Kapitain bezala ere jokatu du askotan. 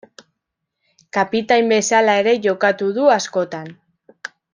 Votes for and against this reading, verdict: 2, 0, accepted